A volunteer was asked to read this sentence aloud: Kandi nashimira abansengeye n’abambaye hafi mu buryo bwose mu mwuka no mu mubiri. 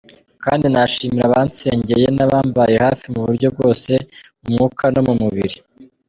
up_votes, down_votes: 1, 2